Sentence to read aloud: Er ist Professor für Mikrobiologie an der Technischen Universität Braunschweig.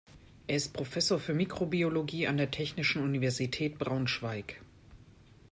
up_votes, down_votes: 2, 0